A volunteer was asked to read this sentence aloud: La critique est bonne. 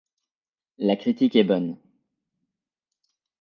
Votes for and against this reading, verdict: 2, 0, accepted